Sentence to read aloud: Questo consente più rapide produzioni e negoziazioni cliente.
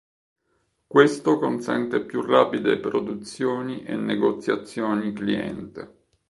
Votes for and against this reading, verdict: 2, 1, accepted